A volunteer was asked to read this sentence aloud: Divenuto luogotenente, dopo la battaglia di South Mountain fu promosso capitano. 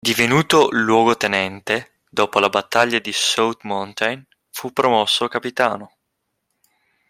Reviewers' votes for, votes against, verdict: 3, 0, accepted